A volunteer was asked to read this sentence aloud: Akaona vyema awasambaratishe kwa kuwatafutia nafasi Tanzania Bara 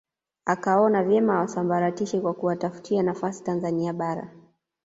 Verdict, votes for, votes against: accepted, 2, 0